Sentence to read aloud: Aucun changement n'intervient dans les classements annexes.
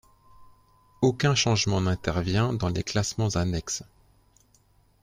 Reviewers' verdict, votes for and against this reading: accepted, 2, 0